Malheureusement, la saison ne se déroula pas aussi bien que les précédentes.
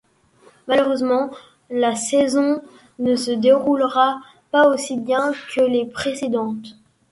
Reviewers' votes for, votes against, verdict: 1, 2, rejected